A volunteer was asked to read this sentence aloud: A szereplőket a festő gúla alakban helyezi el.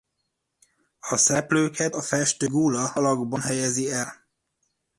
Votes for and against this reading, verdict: 0, 2, rejected